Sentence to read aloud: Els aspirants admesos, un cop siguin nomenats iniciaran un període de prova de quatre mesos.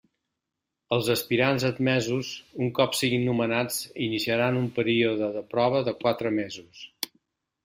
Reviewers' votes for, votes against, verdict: 3, 0, accepted